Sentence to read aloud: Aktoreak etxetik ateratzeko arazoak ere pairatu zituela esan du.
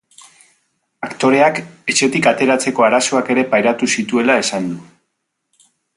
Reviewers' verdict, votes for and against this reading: rejected, 0, 2